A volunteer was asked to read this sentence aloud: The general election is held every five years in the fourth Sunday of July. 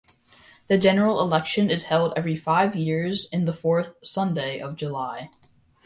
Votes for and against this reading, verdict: 2, 0, accepted